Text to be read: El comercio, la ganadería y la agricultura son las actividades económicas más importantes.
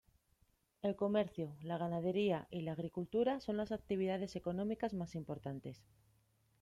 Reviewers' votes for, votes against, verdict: 2, 0, accepted